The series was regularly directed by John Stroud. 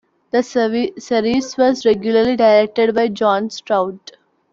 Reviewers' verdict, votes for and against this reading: rejected, 0, 2